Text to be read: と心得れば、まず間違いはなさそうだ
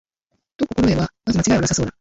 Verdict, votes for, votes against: rejected, 0, 2